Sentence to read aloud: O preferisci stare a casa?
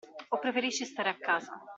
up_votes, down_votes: 2, 0